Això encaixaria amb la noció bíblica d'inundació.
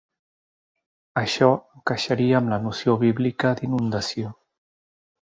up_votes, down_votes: 1, 2